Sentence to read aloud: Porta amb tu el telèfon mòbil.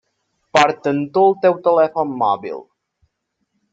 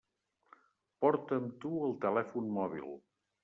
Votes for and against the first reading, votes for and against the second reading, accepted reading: 0, 2, 2, 0, second